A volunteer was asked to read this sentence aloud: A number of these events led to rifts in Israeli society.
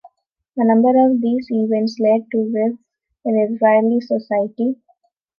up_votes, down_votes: 0, 2